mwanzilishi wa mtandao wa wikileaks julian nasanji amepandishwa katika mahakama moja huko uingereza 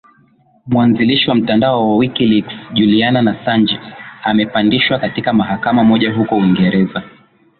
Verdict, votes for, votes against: accepted, 2, 0